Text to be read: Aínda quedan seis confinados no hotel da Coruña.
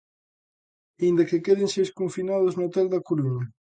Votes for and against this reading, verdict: 0, 2, rejected